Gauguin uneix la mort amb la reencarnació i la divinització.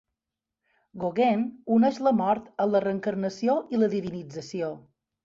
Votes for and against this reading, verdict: 2, 0, accepted